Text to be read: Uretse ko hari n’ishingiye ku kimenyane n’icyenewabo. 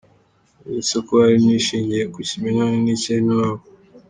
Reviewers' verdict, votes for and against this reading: accepted, 2, 1